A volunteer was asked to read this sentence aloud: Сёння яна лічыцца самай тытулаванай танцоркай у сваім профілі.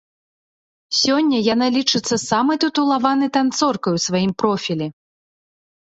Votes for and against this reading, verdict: 2, 0, accepted